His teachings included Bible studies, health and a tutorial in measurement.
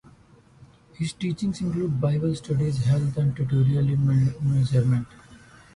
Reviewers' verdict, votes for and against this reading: rejected, 0, 2